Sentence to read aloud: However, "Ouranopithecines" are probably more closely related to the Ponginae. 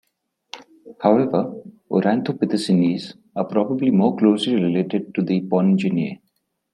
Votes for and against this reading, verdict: 1, 2, rejected